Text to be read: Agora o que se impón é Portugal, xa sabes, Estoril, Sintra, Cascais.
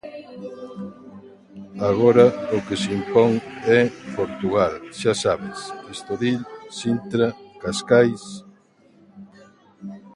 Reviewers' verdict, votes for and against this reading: rejected, 0, 2